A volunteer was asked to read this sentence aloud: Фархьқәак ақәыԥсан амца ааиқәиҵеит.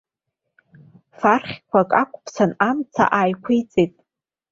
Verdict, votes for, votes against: accepted, 2, 0